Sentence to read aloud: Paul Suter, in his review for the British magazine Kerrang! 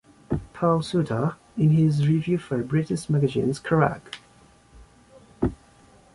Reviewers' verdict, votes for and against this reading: accepted, 2, 1